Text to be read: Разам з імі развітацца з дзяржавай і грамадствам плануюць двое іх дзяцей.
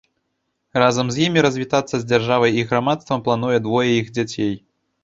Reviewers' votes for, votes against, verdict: 1, 2, rejected